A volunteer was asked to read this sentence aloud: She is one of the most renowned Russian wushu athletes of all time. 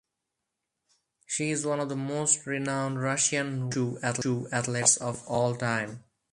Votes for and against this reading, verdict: 0, 4, rejected